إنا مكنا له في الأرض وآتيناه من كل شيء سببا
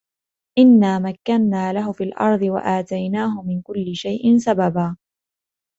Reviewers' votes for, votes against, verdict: 2, 0, accepted